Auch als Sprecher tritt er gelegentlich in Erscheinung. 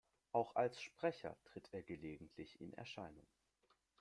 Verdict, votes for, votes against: accepted, 2, 0